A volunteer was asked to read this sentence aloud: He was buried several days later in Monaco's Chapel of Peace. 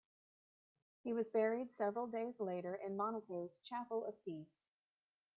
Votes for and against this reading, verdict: 2, 1, accepted